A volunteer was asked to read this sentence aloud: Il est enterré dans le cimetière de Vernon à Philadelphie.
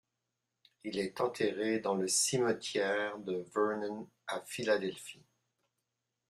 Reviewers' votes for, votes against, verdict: 2, 0, accepted